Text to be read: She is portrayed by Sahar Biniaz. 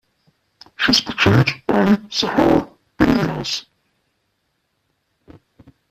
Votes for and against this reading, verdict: 1, 2, rejected